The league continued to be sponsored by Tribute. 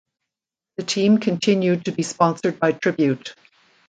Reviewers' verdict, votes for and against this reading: rejected, 0, 2